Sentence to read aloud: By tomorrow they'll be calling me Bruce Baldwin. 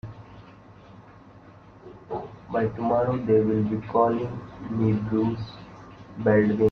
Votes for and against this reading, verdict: 0, 2, rejected